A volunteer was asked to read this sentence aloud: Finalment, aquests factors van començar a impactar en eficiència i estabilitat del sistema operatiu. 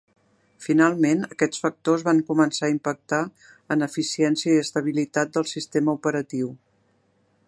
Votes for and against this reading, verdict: 3, 0, accepted